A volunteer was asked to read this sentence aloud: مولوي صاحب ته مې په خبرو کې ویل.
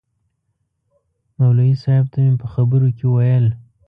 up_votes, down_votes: 2, 0